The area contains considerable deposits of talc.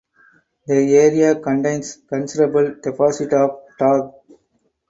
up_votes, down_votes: 2, 4